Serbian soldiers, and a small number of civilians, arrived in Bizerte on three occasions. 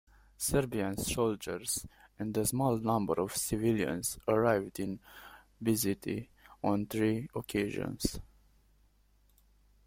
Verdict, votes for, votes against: accepted, 2, 1